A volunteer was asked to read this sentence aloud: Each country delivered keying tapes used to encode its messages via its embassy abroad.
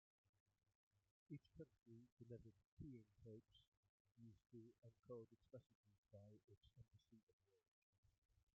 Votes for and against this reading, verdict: 0, 2, rejected